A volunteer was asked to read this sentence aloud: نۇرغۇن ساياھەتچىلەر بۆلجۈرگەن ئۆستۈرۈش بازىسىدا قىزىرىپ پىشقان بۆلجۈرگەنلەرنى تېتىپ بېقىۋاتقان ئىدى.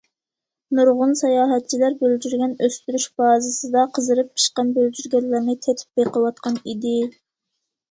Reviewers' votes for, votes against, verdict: 2, 0, accepted